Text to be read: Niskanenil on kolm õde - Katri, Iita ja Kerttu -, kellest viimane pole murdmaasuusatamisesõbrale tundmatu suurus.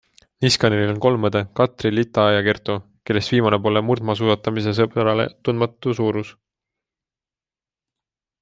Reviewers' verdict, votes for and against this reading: accepted, 2, 1